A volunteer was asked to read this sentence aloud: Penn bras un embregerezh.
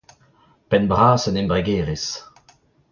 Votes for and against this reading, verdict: 2, 0, accepted